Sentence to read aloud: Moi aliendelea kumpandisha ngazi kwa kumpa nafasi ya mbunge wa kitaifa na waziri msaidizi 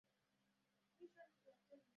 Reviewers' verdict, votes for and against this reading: rejected, 0, 2